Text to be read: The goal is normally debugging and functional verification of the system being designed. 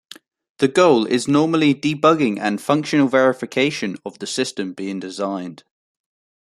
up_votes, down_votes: 2, 0